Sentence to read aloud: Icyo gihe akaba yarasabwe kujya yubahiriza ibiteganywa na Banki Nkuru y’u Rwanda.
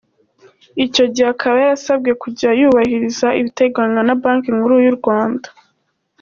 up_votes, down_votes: 2, 1